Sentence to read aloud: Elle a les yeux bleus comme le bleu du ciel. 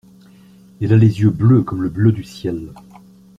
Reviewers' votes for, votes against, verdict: 2, 0, accepted